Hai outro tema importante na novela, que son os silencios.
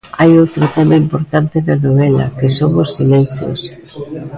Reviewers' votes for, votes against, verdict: 0, 2, rejected